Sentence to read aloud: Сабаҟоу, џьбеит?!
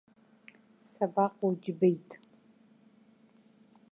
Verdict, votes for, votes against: accepted, 2, 0